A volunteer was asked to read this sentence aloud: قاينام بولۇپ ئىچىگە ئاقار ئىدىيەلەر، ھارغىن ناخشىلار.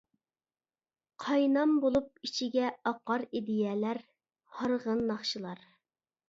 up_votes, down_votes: 2, 0